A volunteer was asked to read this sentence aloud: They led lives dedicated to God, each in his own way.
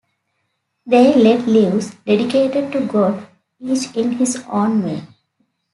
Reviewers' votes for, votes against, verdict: 2, 0, accepted